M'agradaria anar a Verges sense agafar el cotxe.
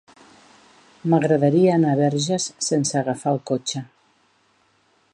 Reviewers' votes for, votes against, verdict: 2, 0, accepted